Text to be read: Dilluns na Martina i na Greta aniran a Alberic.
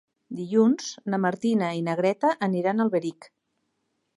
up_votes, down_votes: 3, 0